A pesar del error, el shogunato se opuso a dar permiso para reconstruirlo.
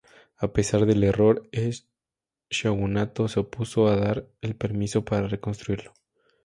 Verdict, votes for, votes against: rejected, 0, 2